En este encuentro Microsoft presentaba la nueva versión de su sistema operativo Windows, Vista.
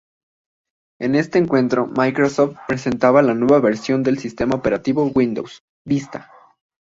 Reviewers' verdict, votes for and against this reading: accepted, 2, 1